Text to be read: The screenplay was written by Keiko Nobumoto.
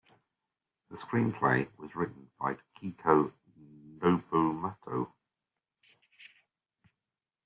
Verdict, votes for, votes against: rejected, 1, 2